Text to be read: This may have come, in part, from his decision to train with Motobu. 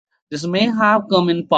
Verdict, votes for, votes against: rejected, 0, 2